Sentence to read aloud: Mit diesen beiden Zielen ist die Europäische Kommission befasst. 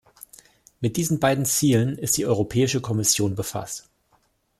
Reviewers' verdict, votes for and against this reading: accepted, 2, 0